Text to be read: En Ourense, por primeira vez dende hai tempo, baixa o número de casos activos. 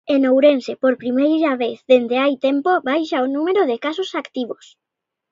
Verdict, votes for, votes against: accepted, 2, 0